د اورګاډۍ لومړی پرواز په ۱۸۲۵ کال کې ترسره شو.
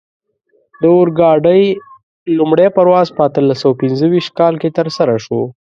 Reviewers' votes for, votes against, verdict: 0, 2, rejected